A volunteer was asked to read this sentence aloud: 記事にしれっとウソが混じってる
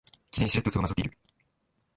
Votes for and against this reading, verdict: 0, 2, rejected